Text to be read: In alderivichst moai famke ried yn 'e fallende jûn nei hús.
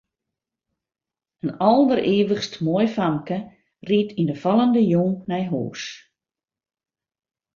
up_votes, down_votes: 1, 2